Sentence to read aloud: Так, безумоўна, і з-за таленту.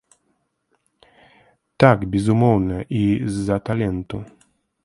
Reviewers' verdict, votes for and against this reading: rejected, 1, 2